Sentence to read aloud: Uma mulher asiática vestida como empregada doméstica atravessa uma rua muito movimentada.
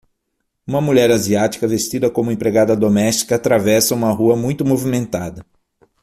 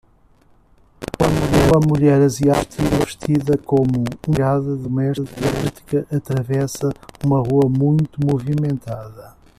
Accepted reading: first